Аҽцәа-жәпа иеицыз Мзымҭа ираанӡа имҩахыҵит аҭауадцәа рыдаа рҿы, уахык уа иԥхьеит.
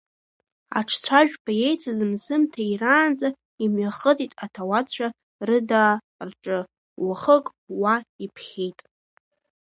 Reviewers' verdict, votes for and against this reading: rejected, 1, 2